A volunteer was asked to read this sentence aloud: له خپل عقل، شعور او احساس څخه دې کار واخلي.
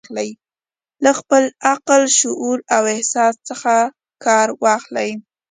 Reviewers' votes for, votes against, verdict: 2, 0, accepted